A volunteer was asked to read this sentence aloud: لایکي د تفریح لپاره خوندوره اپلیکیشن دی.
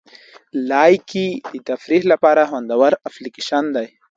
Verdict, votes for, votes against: accepted, 2, 0